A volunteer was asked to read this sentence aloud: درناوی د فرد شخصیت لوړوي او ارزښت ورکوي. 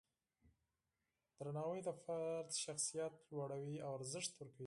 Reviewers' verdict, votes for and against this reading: accepted, 4, 0